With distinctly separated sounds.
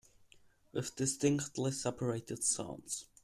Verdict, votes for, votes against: rejected, 1, 2